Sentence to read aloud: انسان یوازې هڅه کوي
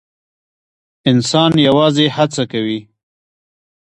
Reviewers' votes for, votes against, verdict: 1, 2, rejected